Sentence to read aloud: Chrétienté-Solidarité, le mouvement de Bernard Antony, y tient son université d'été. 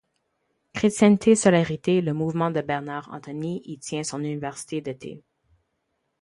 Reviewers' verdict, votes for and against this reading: rejected, 2, 4